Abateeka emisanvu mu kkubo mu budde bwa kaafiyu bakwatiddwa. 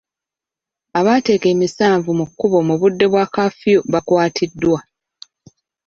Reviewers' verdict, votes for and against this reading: rejected, 1, 2